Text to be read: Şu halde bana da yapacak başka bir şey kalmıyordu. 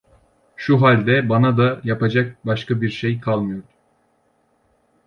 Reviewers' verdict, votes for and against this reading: rejected, 1, 2